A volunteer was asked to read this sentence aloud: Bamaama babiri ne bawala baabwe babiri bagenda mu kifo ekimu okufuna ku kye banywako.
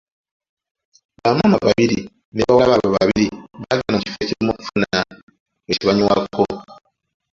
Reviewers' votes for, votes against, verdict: 0, 2, rejected